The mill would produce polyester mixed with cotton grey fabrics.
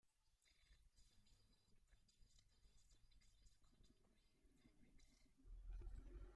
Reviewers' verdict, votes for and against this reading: rejected, 0, 2